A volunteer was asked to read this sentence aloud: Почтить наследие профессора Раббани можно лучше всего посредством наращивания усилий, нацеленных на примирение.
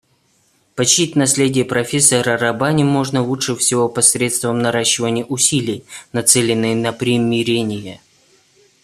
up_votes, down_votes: 1, 2